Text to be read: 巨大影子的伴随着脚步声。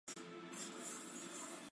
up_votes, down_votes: 3, 6